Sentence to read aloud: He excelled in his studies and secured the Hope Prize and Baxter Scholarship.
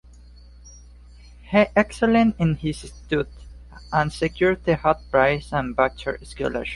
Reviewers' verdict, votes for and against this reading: rejected, 0, 4